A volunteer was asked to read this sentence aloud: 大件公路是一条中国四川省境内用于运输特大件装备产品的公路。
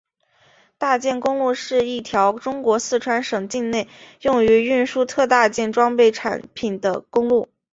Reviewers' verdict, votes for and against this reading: accepted, 5, 0